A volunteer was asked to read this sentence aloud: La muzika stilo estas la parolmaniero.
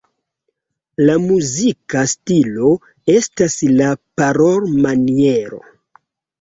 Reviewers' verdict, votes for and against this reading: rejected, 0, 2